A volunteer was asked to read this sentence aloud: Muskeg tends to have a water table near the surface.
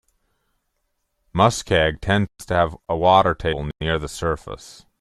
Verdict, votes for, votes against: rejected, 1, 2